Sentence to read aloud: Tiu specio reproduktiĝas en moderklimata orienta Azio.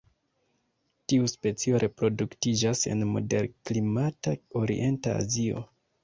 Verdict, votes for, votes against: accepted, 2, 0